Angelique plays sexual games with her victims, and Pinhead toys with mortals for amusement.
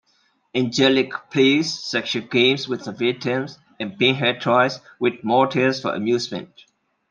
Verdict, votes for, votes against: accepted, 2, 0